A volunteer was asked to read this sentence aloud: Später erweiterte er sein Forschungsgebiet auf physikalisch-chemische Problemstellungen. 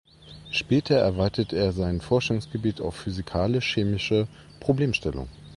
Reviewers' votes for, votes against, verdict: 0, 2, rejected